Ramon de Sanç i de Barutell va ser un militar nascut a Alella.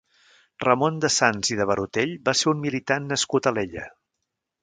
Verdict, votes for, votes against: rejected, 1, 2